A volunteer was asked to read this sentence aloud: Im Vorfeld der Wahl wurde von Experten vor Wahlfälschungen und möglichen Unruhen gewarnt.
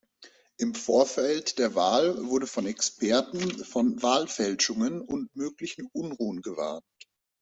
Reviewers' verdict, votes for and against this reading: rejected, 1, 2